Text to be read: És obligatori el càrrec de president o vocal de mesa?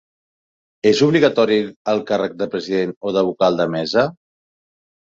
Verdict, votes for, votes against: rejected, 0, 2